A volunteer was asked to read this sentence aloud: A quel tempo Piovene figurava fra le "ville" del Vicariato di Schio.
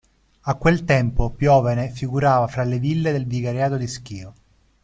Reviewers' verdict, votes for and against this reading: accepted, 2, 0